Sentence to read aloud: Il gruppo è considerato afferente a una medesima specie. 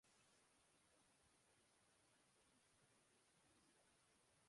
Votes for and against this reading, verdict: 0, 2, rejected